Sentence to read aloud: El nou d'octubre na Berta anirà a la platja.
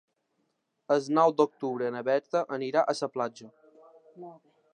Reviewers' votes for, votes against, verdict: 0, 2, rejected